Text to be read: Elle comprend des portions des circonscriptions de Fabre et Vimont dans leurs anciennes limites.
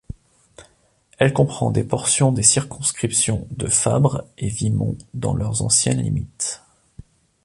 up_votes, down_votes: 2, 0